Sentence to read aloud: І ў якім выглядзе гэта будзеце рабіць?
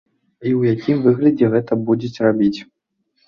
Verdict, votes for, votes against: accepted, 2, 0